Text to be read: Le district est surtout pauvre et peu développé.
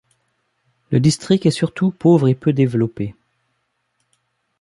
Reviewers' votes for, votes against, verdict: 1, 2, rejected